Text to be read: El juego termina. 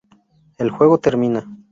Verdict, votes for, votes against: accepted, 2, 0